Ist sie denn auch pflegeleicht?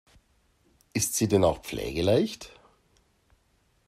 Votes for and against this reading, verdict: 2, 0, accepted